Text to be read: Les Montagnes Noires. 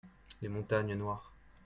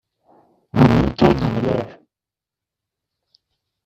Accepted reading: first